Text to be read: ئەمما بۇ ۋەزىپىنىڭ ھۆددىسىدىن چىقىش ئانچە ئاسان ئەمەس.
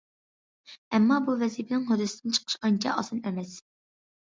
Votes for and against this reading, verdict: 2, 0, accepted